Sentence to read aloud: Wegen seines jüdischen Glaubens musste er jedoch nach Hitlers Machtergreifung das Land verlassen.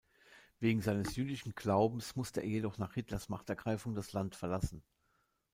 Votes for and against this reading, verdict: 1, 2, rejected